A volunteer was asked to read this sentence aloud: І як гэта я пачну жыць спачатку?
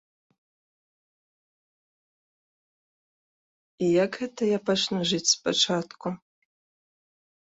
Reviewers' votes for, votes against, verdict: 1, 2, rejected